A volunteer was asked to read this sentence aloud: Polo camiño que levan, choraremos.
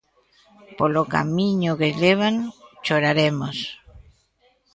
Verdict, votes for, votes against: rejected, 0, 2